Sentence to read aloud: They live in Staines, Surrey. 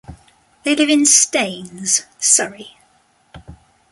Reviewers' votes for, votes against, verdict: 2, 0, accepted